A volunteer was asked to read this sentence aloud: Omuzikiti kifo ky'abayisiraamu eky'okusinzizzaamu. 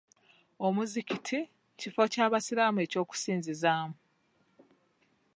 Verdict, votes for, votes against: rejected, 1, 2